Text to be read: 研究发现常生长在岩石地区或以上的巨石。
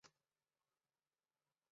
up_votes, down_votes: 0, 2